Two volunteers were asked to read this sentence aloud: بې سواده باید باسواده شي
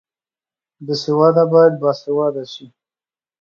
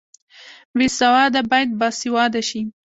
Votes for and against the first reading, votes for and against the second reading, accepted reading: 2, 0, 1, 2, first